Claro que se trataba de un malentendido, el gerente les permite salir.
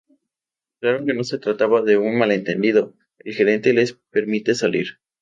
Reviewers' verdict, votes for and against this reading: rejected, 0, 2